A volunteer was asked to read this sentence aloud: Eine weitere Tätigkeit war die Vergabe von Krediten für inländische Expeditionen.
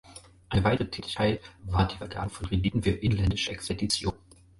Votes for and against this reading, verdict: 4, 2, accepted